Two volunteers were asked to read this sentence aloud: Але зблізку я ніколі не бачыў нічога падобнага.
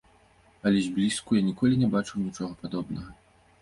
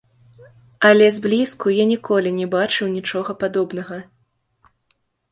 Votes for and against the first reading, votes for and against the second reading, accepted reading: 2, 0, 0, 2, first